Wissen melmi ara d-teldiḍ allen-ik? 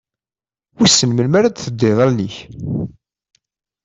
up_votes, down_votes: 2, 1